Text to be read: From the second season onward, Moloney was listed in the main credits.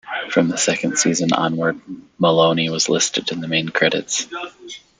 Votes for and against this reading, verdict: 1, 2, rejected